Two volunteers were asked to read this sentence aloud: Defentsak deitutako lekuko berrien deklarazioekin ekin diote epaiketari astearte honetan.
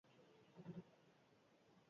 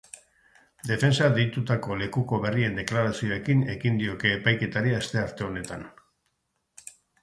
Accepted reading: second